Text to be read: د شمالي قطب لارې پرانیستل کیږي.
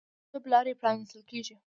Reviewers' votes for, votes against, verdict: 1, 2, rejected